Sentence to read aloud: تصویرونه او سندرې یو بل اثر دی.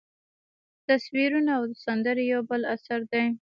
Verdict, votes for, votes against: accepted, 2, 0